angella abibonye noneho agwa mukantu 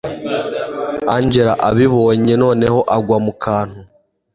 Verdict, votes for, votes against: accepted, 2, 0